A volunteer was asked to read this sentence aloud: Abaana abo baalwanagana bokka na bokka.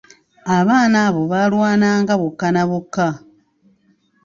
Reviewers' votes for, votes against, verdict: 2, 0, accepted